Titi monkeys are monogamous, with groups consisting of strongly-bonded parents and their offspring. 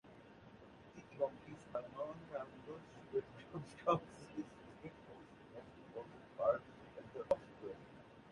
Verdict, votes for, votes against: rejected, 1, 2